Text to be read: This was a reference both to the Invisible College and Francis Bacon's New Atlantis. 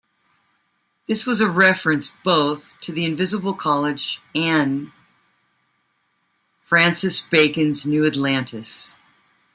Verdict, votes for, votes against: accepted, 3, 1